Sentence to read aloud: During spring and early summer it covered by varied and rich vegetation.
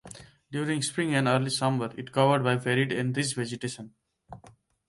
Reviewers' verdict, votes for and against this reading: rejected, 1, 2